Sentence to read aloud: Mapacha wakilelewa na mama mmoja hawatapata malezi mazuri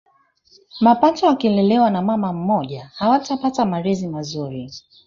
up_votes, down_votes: 2, 1